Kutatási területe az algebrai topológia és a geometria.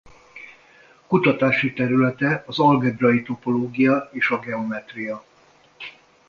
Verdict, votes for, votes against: accepted, 2, 0